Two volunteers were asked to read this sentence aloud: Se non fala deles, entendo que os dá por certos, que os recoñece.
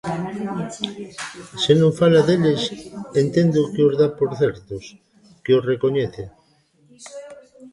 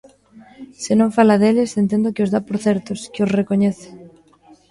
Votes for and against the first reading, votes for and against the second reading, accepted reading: 0, 2, 2, 0, second